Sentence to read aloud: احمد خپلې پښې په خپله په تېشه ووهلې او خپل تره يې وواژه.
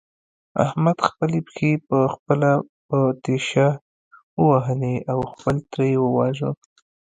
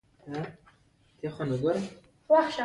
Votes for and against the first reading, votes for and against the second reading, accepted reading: 1, 2, 2, 0, second